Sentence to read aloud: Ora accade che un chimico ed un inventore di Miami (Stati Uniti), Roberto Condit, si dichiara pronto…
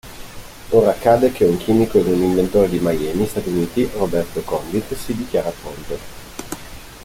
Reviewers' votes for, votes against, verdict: 2, 0, accepted